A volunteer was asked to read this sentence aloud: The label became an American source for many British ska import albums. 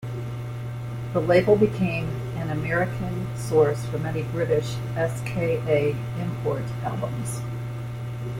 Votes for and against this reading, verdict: 1, 2, rejected